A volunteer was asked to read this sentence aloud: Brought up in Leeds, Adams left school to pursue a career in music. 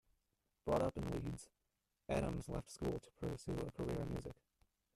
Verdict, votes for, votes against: rejected, 0, 2